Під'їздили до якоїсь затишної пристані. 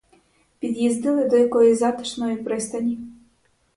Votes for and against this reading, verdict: 2, 2, rejected